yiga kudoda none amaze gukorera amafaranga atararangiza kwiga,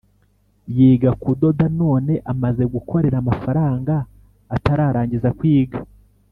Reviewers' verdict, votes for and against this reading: accepted, 2, 0